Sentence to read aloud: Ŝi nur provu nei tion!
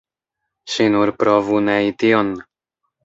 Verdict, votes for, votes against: accepted, 2, 0